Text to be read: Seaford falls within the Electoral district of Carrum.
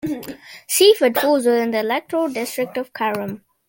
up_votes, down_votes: 2, 0